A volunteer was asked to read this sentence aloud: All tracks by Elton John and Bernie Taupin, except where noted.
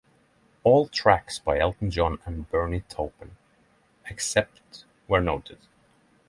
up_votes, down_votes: 6, 0